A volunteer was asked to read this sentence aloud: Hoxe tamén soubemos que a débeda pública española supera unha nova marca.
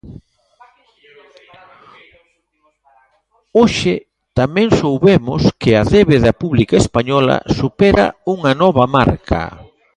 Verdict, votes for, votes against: rejected, 0, 2